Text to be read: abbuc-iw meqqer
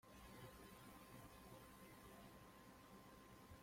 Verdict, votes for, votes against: rejected, 0, 2